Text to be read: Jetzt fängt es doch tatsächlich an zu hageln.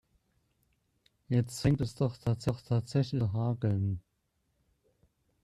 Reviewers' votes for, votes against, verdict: 0, 2, rejected